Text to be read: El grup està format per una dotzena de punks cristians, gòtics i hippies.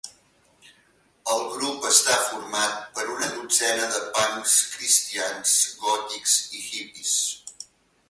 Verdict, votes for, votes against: accepted, 2, 0